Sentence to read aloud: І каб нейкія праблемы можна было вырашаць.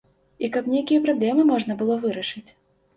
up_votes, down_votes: 1, 2